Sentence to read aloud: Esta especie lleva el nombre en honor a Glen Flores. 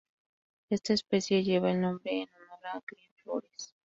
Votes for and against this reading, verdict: 0, 2, rejected